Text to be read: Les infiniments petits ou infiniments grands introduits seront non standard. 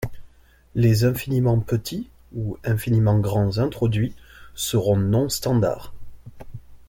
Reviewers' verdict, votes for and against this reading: accepted, 3, 0